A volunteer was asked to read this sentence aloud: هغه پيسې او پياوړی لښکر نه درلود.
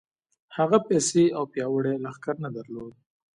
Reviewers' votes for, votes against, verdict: 2, 0, accepted